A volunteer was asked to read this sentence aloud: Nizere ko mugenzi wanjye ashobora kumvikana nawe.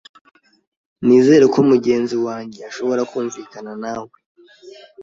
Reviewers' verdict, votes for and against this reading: accepted, 2, 0